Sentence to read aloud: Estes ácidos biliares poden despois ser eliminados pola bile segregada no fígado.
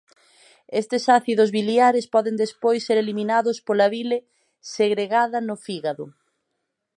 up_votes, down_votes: 2, 0